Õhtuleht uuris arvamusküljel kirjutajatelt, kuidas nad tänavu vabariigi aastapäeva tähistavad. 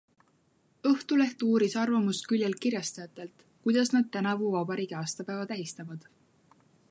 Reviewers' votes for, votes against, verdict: 0, 2, rejected